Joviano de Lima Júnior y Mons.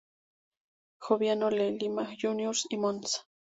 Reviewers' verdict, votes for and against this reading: rejected, 0, 2